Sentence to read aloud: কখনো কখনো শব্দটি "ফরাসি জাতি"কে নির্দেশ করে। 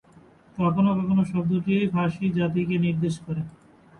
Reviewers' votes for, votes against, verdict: 2, 3, rejected